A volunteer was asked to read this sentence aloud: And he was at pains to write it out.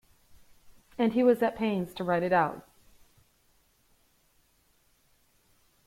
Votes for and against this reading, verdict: 1, 2, rejected